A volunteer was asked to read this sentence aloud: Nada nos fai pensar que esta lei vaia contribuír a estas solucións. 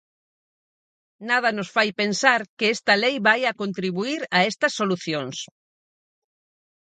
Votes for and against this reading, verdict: 4, 0, accepted